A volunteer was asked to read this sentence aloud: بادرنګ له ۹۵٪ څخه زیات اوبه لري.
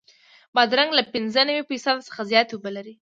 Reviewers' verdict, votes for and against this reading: rejected, 0, 2